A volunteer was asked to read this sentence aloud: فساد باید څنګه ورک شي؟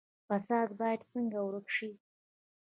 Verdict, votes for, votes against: rejected, 1, 2